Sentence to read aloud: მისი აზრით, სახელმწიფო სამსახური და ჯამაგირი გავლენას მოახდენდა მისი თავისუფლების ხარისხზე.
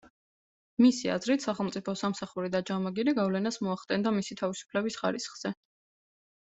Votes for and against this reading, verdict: 2, 0, accepted